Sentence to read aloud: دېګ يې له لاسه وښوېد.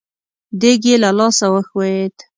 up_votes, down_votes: 2, 0